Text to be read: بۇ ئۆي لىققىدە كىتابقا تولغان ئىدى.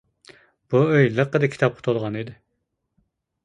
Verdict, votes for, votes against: accepted, 2, 0